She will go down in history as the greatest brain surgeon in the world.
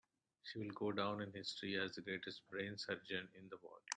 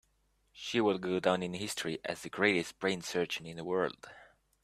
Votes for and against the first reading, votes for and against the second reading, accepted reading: 1, 2, 2, 0, second